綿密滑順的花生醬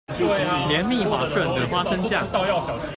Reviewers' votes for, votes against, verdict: 1, 2, rejected